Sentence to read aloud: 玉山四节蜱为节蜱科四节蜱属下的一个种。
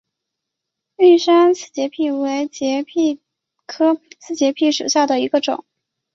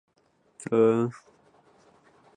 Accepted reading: first